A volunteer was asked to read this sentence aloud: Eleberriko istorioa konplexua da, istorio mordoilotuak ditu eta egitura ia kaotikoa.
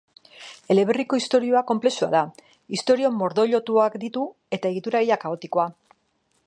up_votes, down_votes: 2, 0